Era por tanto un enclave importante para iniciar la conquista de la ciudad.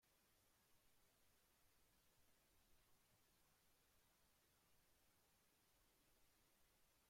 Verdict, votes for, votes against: rejected, 0, 2